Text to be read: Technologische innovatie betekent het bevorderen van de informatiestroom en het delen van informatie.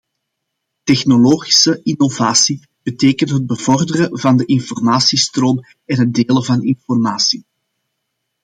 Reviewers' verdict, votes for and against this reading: accepted, 2, 0